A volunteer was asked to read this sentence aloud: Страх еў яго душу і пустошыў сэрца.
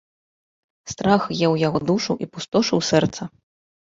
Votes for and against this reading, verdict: 2, 0, accepted